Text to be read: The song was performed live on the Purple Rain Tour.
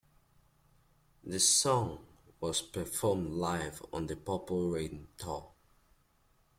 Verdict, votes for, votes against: accepted, 2, 1